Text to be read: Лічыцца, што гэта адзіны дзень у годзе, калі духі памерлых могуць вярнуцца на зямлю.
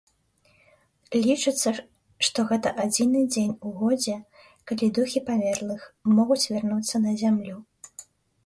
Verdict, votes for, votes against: accepted, 2, 0